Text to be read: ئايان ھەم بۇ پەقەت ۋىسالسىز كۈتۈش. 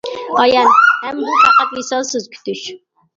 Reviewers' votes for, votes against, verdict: 1, 2, rejected